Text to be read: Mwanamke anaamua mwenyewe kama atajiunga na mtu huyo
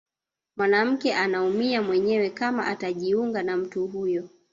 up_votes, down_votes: 1, 2